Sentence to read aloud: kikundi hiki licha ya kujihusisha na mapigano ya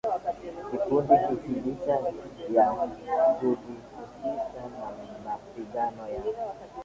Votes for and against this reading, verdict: 0, 2, rejected